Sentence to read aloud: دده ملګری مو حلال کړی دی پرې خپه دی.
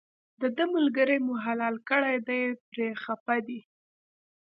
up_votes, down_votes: 2, 0